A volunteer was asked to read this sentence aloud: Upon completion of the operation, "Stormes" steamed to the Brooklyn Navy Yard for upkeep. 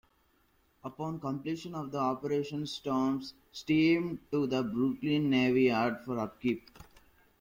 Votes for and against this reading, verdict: 1, 2, rejected